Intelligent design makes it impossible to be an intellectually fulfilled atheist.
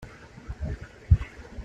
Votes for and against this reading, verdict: 0, 2, rejected